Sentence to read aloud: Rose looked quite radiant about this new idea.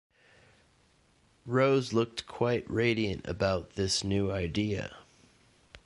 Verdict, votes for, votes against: accepted, 2, 1